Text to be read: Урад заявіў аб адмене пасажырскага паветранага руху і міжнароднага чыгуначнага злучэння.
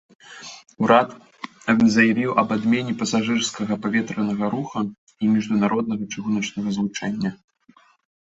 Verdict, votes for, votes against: rejected, 1, 2